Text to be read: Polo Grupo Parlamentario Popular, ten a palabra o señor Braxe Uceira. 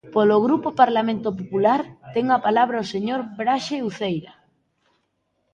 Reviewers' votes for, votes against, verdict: 0, 2, rejected